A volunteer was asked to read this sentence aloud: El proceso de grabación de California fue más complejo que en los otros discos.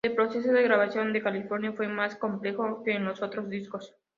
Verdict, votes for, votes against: accepted, 2, 0